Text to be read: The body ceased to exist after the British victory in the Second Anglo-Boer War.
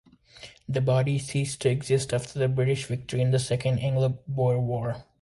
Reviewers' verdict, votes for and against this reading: accepted, 2, 0